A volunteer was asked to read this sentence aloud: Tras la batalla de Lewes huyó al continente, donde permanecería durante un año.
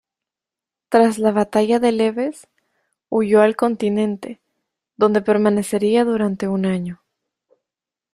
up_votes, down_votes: 2, 1